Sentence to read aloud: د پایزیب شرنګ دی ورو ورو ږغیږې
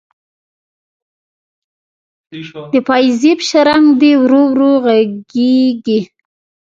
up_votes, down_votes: 1, 2